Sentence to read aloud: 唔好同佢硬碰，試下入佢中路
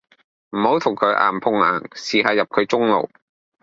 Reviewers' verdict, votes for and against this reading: rejected, 0, 2